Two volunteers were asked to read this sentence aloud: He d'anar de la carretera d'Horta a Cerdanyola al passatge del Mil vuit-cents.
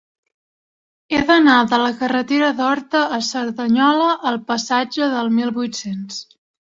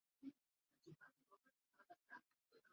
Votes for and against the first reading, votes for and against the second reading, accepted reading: 3, 0, 0, 2, first